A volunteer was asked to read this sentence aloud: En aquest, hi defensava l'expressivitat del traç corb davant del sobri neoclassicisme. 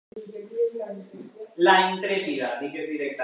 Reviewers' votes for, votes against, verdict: 0, 2, rejected